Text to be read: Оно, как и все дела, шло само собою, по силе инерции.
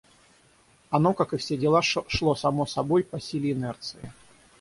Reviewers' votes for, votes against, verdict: 0, 3, rejected